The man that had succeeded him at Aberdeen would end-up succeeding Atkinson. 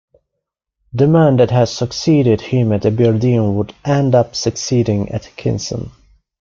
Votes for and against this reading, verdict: 2, 0, accepted